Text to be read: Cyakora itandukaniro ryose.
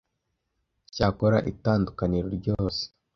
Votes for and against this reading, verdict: 2, 0, accepted